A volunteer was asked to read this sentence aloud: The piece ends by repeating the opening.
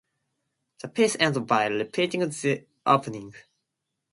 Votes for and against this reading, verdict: 2, 0, accepted